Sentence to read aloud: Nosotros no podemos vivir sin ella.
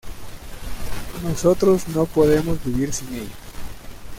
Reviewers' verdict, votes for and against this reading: rejected, 1, 2